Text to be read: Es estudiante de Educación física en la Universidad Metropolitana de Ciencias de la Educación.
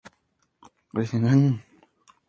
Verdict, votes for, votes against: rejected, 0, 2